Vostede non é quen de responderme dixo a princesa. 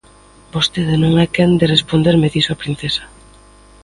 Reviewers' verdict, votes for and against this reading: accepted, 2, 0